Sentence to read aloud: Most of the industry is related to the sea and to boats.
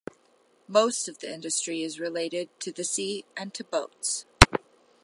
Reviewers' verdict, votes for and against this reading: accepted, 2, 0